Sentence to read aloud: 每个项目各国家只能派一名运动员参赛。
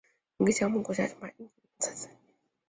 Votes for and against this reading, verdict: 0, 3, rejected